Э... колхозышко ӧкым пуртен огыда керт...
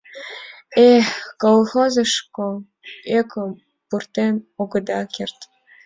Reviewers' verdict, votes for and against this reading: accepted, 2, 1